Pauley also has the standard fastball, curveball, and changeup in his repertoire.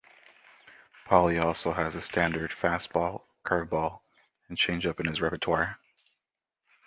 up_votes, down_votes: 2, 1